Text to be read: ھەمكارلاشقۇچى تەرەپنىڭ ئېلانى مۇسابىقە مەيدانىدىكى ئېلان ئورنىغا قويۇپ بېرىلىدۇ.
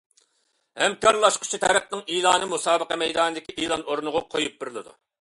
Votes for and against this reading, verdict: 2, 0, accepted